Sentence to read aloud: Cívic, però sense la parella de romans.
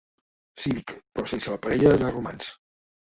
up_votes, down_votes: 0, 2